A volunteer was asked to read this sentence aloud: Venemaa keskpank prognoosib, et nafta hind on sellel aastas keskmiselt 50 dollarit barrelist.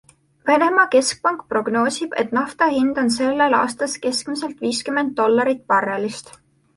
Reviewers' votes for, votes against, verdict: 0, 2, rejected